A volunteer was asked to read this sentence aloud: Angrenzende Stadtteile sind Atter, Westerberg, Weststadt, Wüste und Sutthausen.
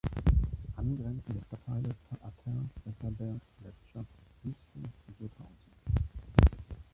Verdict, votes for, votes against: rejected, 0, 3